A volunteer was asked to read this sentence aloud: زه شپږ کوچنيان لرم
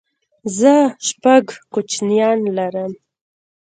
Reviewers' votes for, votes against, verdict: 2, 0, accepted